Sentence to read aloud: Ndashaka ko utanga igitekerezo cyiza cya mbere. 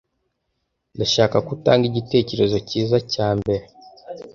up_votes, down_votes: 2, 0